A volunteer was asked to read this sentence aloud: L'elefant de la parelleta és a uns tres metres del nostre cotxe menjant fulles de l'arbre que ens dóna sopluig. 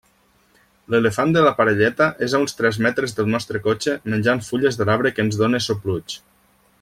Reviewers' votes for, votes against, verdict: 1, 2, rejected